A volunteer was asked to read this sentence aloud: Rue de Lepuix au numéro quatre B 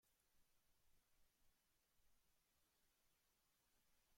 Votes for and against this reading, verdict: 0, 2, rejected